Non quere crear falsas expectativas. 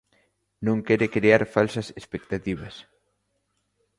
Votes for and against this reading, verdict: 2, 0, accepted